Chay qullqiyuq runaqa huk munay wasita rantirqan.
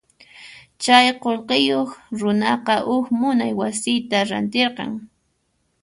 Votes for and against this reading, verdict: 2, 0, accepted